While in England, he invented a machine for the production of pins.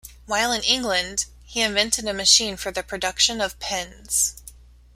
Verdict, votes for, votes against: accepted, 2, 0